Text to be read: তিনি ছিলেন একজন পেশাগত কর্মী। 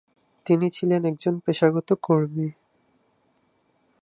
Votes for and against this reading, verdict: 2, 4, rejected